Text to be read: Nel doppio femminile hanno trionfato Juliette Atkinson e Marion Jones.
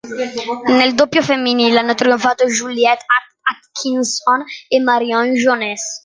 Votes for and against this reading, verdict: 0, 2, rejected